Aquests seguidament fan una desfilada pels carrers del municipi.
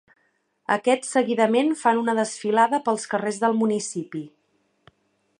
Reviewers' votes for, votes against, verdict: 2, 0, accepted